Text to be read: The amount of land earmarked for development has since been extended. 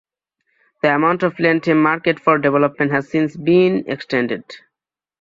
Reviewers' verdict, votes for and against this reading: accepted, 2, 0